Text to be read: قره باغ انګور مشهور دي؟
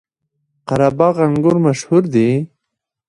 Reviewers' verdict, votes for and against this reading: rejected, 1, 2